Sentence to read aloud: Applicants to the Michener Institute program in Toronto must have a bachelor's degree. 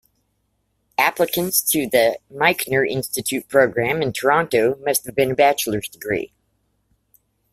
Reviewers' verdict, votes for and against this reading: rejected, 1, 2